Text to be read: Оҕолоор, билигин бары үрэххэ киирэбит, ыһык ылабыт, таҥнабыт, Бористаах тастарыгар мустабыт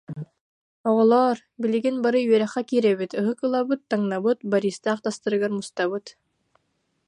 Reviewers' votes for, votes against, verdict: 1, 2, rejected